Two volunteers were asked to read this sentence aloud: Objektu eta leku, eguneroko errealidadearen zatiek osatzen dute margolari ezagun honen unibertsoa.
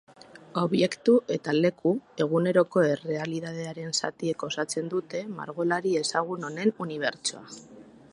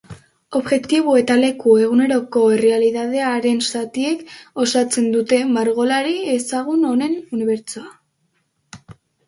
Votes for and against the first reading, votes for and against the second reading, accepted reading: 2, 0, 1, 3, first